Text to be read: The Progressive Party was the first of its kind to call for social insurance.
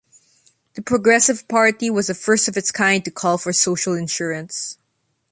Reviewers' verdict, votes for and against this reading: accepted, 2, 0